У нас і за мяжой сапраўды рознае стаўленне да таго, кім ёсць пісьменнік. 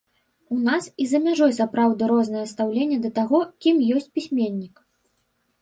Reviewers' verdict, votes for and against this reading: rejected, 1, 2